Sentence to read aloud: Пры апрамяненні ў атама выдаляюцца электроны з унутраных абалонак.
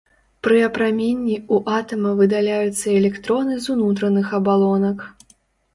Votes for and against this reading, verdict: 0, 2, rejected